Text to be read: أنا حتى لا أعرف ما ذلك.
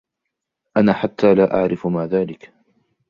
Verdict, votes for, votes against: accepted, 2, 1